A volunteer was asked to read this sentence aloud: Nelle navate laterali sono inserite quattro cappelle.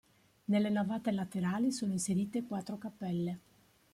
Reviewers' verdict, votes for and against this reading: accepted, 2, 0